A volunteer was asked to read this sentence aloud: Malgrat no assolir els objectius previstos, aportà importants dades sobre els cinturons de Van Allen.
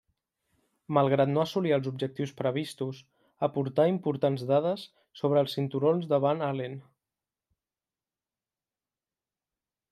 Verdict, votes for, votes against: accepted, 2, 0